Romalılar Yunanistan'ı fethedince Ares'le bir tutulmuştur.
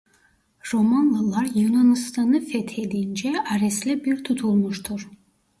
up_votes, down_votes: 1, 2